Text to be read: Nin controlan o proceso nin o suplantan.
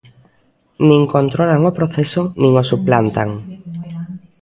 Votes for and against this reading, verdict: 2, 0, accepted